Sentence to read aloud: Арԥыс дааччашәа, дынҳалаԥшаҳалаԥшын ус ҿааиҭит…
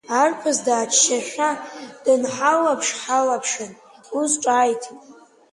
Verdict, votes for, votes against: accepted, 2, 0